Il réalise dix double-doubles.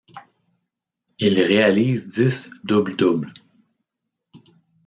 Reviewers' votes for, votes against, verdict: 2, 0, accepted